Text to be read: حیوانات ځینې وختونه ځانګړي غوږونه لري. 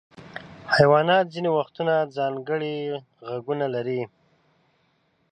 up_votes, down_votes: 1, 2